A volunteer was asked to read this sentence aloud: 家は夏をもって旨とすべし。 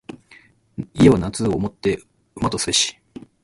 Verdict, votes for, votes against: rejected, 2, 2